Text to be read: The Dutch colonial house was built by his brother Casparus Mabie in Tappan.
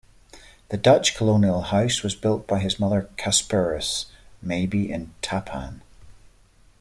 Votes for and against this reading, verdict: 2, 1, accepted